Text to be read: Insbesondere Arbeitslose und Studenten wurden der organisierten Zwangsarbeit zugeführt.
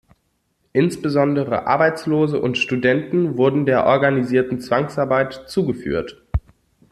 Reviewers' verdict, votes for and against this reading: accepted, 2, 0